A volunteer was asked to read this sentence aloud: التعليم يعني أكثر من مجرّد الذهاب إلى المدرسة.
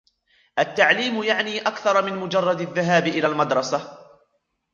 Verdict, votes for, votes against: rejected, 1, 2